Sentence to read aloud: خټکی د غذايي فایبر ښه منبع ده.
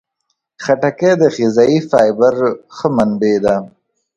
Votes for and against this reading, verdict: 2, 0, accepted